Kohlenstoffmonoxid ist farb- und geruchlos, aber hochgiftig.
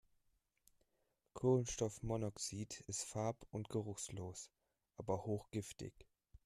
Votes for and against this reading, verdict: 1, 2, rejected